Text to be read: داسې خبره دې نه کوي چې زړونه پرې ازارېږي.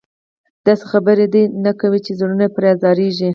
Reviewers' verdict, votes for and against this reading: accepted, 2, 0